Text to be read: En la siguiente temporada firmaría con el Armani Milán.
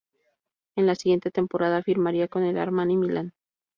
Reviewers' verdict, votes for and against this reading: accepted, 2, 0